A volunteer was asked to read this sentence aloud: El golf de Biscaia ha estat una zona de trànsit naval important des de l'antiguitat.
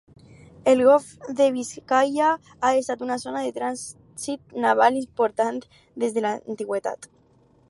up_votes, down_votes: 2, 4